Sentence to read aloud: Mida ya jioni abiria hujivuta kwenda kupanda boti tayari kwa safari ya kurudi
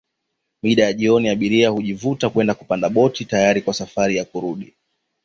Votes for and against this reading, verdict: 4, 1, accepted